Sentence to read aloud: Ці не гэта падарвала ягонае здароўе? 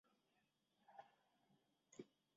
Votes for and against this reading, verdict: 0, 2, rejected